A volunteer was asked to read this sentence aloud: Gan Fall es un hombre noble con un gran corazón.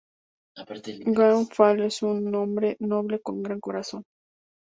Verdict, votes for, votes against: rejected, 0, 2